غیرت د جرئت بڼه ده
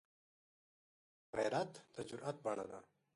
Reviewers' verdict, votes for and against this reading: accepted, 2, 0